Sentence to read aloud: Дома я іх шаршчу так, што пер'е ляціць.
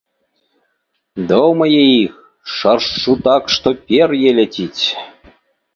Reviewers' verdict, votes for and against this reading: accepted, 2, 0